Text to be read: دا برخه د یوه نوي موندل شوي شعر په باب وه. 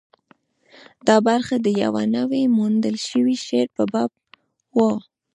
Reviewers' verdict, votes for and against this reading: rejected, 0, 2